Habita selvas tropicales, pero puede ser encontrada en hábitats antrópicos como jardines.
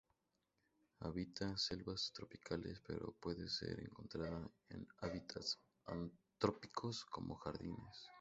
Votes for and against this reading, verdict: 0, 2, rejected